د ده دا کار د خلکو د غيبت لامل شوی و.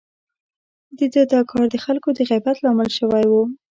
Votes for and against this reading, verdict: 2, 0, accepted